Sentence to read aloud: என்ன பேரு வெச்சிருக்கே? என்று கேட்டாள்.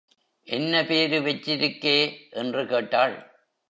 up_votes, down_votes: 3, 0